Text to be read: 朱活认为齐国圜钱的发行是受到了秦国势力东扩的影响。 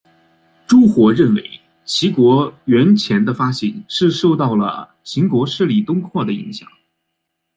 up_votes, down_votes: 2, 1